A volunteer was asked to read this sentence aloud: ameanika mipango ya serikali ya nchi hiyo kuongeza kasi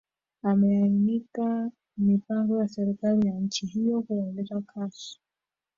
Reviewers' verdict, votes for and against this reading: rejected, 1, 2